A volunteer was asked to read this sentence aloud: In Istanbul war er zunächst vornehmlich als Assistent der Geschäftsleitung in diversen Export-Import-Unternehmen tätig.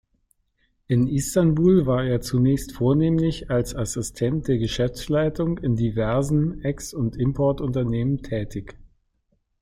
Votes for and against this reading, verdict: 0, 3, rejected